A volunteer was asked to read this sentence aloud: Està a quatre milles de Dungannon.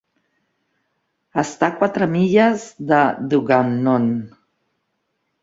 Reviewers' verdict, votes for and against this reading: rejected, 0, 2